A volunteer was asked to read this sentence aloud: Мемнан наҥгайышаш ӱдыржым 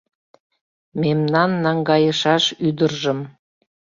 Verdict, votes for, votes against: accepted, 2, 0